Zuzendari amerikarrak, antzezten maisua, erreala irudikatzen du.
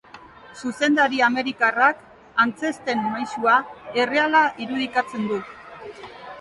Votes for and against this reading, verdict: 2, 0, accepted